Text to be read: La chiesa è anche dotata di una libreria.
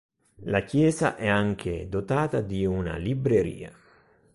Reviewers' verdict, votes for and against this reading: accepted, 3, 0